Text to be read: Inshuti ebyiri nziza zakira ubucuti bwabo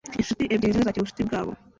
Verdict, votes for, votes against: rejected, 1, 2